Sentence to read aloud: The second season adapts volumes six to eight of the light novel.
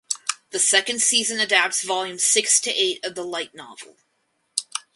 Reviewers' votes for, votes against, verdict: 4, 0, accepted